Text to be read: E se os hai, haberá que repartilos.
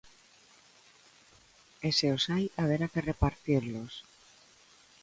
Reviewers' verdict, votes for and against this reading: rejected, 0, 2